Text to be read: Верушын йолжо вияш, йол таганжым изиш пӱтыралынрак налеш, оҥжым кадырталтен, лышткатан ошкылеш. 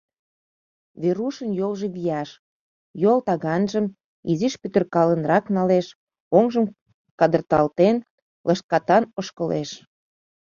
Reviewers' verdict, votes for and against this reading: rejected, 2, 3